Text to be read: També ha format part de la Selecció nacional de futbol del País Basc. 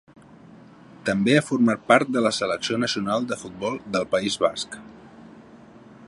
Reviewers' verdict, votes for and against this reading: accepted, 2, 0